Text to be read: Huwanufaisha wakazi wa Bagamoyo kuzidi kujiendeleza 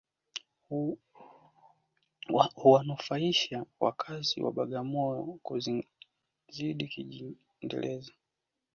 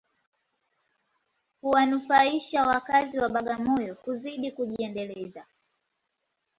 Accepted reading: second